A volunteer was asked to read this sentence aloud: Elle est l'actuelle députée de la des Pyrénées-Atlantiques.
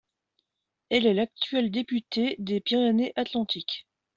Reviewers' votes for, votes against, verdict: 1, 2, rejected